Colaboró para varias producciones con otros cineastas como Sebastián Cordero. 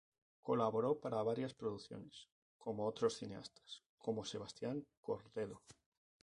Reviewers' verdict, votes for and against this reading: rejected, 0, 2